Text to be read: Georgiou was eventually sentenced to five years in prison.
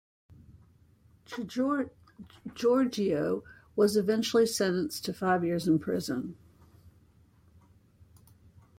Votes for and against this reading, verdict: 0, 2, rejected